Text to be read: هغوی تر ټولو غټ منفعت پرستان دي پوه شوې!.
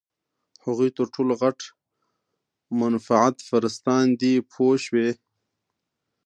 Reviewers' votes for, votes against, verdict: 2, 0, accepted